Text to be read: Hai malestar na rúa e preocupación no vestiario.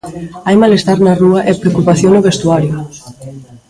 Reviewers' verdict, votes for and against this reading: rejected, 0, 2